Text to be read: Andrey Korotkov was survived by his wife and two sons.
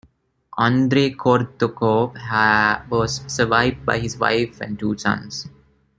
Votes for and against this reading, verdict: 0, 2, rejected